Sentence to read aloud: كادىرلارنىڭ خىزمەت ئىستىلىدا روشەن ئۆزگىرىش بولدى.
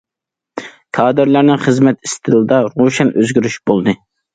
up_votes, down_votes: 2, 0